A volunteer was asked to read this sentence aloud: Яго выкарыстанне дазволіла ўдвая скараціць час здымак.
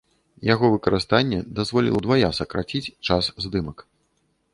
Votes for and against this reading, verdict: 0, 2, rejected